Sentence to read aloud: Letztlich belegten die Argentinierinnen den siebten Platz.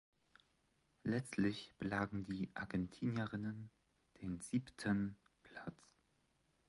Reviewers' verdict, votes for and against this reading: rejected, 0, 2